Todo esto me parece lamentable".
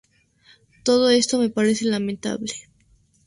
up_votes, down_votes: 2, 0